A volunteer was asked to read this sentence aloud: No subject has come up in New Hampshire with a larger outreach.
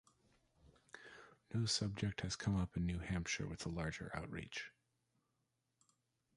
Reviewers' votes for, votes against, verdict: 2, 1, accepted